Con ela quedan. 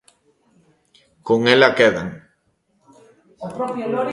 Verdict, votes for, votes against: rejected, 0, 2